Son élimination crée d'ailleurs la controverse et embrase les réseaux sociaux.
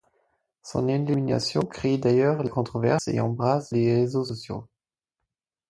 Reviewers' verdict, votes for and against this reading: accepted, 4, 2